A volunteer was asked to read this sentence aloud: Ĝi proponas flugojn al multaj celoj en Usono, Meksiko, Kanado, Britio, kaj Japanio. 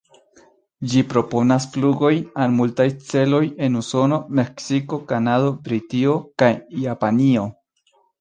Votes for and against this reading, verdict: 2, 0, accepted